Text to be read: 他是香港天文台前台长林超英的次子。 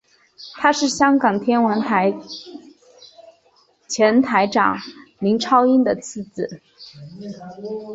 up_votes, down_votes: 3, 1